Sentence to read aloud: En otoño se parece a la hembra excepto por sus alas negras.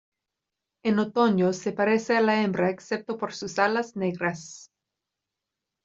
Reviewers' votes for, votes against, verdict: 2, 0, accepted